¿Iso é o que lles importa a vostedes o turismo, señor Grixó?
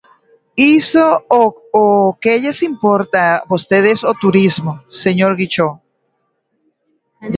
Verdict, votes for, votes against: rejected, 0, 2